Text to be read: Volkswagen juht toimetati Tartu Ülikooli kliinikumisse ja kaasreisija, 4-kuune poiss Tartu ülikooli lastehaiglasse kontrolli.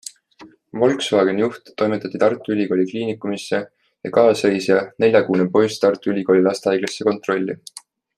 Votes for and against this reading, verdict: 0, 2, rejected